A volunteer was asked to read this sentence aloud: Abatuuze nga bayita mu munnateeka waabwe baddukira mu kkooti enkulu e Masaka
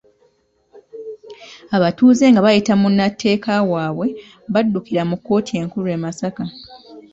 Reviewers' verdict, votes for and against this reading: rejected, 0, 2